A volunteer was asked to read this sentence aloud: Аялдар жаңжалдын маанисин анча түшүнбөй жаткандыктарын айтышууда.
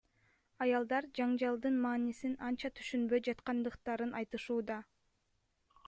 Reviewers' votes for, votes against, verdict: 1, 2, rejected